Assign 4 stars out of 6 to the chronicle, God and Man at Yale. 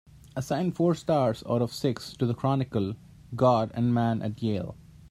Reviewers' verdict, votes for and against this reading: rejected, 0, 2